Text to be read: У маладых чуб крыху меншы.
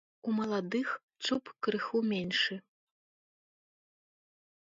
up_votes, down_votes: 2, 0